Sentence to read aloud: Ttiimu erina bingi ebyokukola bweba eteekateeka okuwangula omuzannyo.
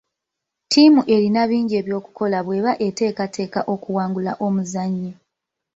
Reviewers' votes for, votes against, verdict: 1, 2, rejected